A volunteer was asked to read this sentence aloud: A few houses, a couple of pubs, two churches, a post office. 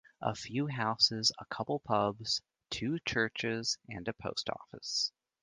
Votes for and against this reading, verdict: 1, 2, rejected